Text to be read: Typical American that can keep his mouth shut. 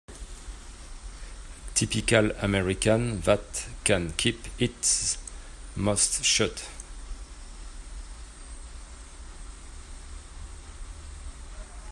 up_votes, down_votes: 1, 2